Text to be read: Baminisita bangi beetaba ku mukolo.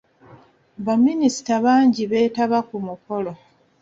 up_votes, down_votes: 2, 0